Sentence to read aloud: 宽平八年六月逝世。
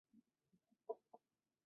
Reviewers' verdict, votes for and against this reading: rejected, 0, 2